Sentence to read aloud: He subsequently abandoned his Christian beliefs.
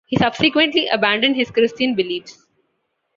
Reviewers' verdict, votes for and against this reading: accepted, 2, 0